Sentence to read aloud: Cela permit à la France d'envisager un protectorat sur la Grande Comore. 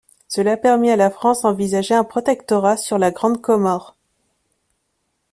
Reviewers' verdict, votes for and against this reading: accepted, 2, 0